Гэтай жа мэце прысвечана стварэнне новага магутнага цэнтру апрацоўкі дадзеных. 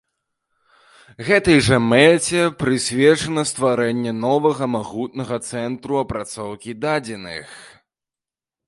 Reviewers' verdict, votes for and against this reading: accepted, 2, 0